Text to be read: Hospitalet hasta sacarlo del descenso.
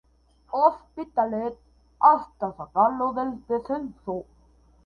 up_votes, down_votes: 2, 0